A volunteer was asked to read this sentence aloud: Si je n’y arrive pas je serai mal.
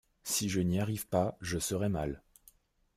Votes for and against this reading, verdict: 2, 0, accepted